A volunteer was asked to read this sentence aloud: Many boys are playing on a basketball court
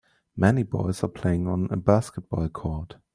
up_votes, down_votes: 2, 1